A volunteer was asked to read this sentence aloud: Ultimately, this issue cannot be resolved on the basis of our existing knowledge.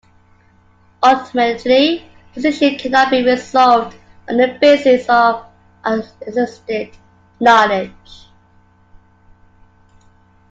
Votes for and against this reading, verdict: 1, 2, rejected